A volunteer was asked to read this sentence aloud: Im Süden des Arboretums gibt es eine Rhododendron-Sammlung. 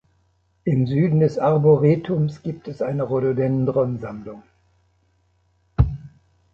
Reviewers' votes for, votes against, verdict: 2, 0, accepted